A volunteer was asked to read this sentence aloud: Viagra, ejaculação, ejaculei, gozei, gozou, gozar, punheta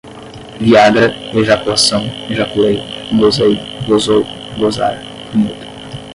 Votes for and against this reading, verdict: 5, 10, rejected